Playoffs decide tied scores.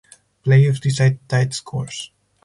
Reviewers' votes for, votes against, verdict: 4, 0, accepted